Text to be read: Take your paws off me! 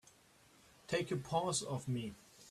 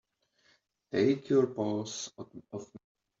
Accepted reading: first